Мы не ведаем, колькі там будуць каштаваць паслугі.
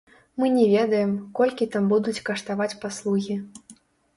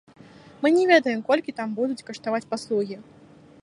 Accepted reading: second